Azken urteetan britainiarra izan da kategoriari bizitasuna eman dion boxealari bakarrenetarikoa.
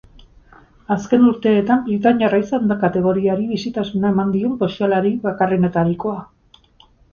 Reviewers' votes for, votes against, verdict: 6, 8, rejected